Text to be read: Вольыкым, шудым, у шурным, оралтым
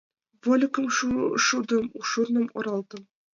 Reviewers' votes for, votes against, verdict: 2, 0, accepted